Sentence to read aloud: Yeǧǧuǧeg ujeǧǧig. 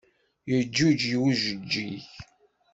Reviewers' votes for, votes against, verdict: 2, 0, accepted